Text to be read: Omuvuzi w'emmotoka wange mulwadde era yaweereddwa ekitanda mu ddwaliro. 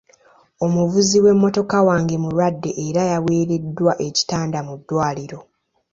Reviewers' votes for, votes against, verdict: 2, 0, accepted